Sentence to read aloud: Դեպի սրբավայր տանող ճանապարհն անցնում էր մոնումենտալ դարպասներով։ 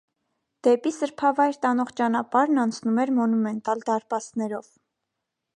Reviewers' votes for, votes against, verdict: 2, 0, accepted